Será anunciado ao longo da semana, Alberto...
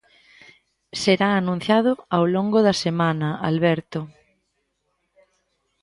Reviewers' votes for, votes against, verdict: 2, 0, accepted